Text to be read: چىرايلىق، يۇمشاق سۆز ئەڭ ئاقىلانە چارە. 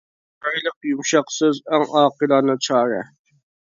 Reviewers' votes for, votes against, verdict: 2, 1, accepted